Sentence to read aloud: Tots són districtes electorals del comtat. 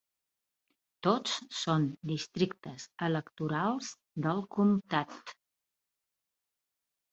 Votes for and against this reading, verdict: 3, 0, accepted